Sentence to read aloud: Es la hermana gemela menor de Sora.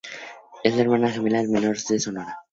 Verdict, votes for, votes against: rejected, 0, 2